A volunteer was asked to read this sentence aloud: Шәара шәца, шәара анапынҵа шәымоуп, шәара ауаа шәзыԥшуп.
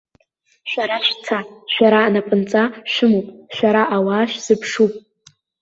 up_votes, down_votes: 0, 2